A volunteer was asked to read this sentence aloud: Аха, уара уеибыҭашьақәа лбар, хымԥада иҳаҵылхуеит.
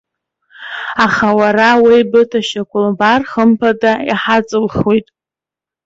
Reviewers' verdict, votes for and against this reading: accepted, 2, 0